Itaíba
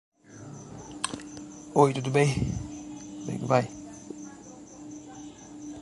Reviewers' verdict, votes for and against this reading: rejected, 0, 2